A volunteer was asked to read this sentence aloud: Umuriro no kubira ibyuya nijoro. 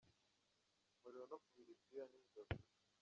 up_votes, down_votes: 1, 3